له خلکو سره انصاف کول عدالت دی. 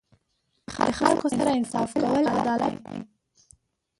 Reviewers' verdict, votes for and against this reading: rejected, 0, 3